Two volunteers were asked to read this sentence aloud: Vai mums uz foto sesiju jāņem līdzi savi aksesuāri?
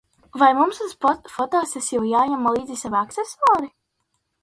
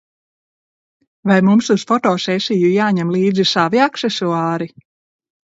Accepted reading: second